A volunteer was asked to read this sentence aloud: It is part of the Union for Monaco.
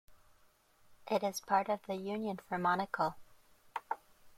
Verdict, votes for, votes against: accepted, 2, 0